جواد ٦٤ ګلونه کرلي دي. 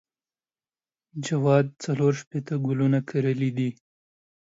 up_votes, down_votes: 0, 2